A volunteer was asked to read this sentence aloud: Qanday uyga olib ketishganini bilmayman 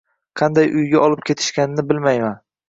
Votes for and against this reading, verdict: 2, 0, accepted